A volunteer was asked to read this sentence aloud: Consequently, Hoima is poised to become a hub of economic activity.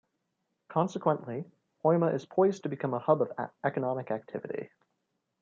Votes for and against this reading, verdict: 1, 2, rejected